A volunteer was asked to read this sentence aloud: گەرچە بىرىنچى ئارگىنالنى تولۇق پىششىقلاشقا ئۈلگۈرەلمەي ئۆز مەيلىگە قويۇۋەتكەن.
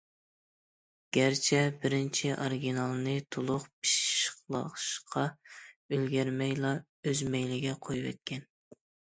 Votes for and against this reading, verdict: 0, 2, rejected